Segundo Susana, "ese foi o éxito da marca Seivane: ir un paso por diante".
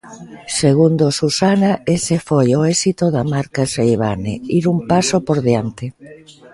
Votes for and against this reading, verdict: 2, 1, accepted